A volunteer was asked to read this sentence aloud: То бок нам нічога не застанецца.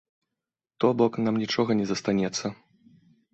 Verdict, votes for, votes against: accepted, 2, 0